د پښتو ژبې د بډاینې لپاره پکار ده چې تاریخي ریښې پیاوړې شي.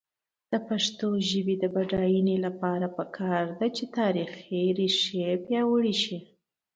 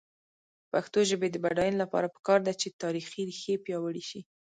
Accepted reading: first